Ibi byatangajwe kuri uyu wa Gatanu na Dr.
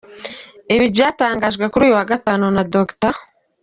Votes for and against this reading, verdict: 2, 0, accepted